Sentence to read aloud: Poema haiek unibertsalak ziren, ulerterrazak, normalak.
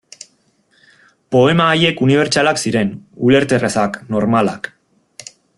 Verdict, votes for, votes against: accepted, 2, 0